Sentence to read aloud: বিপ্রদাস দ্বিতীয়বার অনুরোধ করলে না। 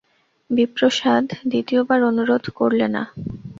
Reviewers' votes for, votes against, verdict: 2, 0, accepted